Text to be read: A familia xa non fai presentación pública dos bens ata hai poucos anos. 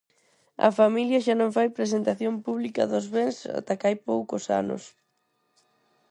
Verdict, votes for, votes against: rejected, 2, 2